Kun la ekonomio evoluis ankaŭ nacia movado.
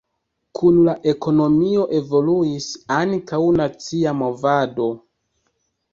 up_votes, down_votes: 0, 2